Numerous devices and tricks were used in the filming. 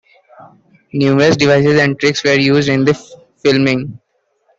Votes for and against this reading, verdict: 2, 0, accepted